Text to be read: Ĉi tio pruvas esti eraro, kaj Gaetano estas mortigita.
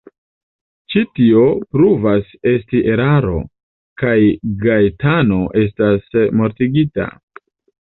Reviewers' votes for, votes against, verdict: 2, 1, accepted